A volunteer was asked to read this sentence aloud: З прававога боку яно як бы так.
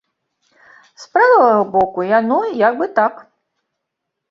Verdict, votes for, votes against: rejected, 0, 2